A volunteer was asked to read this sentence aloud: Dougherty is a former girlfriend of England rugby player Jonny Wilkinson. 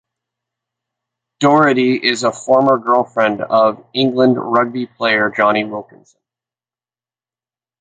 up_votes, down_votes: 2, 0